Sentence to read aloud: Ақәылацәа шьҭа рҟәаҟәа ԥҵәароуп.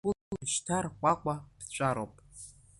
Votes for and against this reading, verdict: 0, 2, rejected